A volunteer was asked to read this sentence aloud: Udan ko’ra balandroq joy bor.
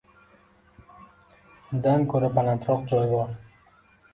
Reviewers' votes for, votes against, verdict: 2, 1, accepted